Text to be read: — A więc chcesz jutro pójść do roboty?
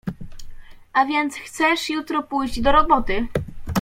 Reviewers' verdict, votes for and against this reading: rejected, 0, 2